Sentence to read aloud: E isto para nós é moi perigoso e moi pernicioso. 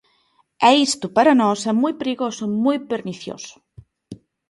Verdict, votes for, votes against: accepted, 2, 0